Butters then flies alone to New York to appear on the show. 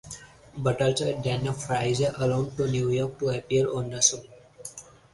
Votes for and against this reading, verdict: 4, 2, accepted